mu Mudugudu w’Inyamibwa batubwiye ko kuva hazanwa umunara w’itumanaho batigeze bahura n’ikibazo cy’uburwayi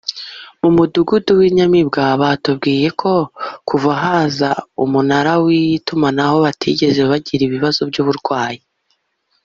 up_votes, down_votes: 1, 2